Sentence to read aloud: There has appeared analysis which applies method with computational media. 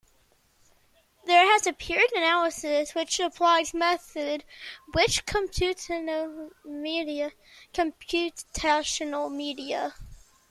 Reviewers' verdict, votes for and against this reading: rejected, 0, 2